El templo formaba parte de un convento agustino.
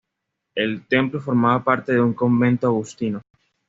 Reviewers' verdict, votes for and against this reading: accepted, 2, 0